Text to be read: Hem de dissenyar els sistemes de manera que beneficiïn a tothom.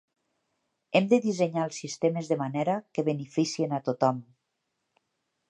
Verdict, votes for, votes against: rejected, 1, 2